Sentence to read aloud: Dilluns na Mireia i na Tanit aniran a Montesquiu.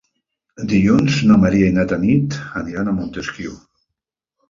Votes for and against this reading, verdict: 1, 2, rejected